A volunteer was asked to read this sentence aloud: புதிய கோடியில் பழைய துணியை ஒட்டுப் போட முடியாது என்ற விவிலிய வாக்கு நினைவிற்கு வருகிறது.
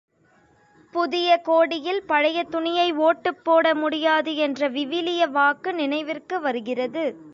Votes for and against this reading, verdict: 0, 2, rejected